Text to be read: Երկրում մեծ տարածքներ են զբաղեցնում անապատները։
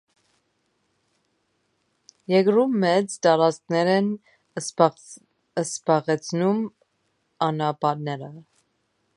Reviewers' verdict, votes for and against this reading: rejected, 1, 2